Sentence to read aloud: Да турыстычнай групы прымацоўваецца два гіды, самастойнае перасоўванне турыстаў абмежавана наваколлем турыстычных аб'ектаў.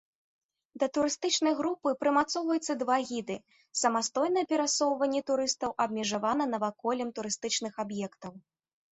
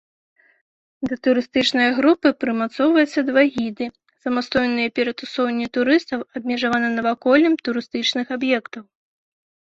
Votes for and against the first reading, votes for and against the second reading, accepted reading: 2, 0, 0, 2, first